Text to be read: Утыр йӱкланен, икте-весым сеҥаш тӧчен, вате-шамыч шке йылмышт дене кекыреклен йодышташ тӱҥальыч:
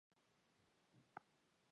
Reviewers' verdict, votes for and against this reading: rejected, 0, 2